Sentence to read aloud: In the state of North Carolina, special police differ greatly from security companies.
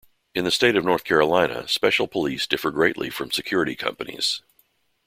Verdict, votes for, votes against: accepted, 2, 0